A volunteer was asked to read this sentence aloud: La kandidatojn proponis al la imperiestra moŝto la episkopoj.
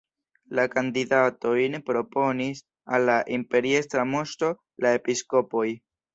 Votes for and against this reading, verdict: 2, 0, accepted